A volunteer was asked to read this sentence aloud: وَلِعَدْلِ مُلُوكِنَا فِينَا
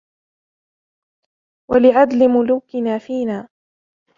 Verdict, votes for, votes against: rejected, 1, 2